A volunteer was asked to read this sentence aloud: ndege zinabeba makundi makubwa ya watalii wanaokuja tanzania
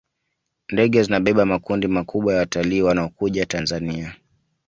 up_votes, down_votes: 2, 0